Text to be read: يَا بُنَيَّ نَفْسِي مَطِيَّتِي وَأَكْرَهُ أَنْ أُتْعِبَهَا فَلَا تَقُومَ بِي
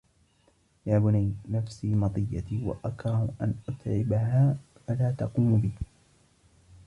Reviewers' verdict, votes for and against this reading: rejected, 0, 2